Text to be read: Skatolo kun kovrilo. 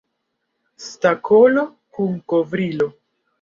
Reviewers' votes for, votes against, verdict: 0, 2, rejected